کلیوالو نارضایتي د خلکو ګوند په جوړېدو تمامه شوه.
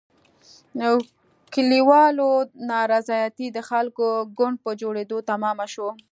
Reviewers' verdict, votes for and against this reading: accepted, 2, 1